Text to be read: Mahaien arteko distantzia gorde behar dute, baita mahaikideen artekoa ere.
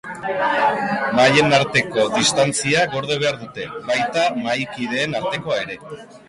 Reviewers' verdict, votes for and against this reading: accepted, 2, 0